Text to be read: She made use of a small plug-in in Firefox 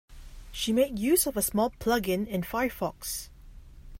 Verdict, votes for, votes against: accepted, 2, 0